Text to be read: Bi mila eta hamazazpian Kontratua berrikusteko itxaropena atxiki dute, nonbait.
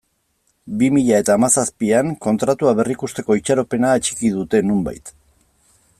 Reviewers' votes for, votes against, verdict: 2, 0, accepted